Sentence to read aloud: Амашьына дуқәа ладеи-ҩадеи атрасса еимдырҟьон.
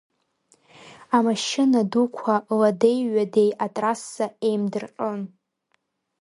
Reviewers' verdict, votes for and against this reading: accepted, 2, 0